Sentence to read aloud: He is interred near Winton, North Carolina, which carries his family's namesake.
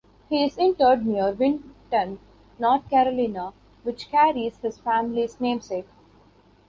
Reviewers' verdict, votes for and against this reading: accepted, 3, 0